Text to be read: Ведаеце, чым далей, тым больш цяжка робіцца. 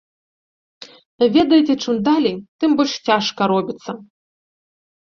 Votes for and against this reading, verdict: 0, 2, rejected